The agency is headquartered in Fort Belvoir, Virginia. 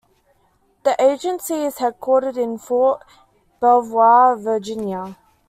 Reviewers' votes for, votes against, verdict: 2, 0, accepted